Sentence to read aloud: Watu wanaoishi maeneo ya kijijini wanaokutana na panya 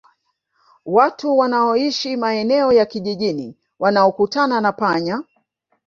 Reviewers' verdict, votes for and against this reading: accepted, 2, 1